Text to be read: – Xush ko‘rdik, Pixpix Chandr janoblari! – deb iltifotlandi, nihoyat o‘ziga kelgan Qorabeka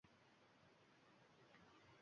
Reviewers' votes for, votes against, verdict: 0, 2, rejected